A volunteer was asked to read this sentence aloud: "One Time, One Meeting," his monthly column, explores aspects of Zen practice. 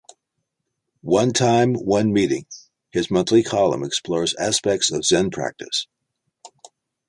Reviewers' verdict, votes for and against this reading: accepted, 3, 0